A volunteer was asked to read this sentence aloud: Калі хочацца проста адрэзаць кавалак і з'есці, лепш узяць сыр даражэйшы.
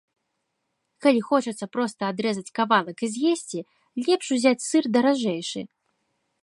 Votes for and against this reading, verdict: 2, 0, accepted